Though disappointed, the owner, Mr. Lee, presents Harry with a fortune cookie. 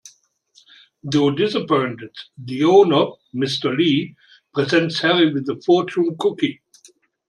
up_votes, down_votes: 1, 2